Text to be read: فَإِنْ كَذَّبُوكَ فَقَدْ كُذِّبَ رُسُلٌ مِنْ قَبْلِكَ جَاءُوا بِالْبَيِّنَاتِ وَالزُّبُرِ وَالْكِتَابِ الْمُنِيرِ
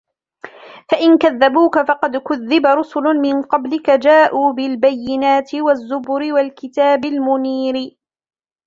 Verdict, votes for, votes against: accepted, 2, 0